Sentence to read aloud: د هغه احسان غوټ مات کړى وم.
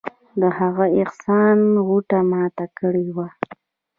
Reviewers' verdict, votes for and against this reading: accepted, 3, 1